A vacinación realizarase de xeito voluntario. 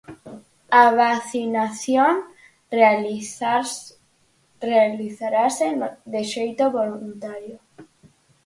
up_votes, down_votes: 0, 4